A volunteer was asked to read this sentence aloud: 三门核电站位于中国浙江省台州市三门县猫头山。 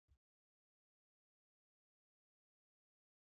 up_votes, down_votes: 0, 3